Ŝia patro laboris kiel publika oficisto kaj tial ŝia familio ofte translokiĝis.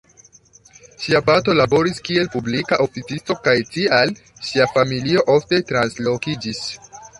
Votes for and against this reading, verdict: 2, 0, accepted